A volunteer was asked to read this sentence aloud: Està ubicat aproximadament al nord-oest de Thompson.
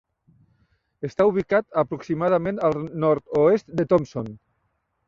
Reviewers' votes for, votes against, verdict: 1, 2, rejected